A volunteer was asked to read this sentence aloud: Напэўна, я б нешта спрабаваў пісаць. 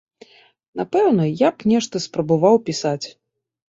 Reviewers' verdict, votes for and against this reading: accepted, 2, 0